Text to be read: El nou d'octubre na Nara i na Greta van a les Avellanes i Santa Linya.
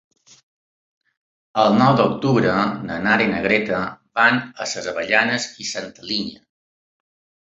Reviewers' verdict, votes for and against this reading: accepted, 3, 2